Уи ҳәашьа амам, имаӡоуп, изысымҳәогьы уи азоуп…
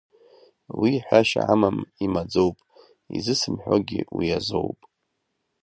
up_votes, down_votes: 2, 0